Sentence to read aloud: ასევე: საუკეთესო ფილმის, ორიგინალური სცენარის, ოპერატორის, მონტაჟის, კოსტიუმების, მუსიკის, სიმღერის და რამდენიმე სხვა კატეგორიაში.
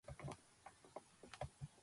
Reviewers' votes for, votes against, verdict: 0, 2, rejected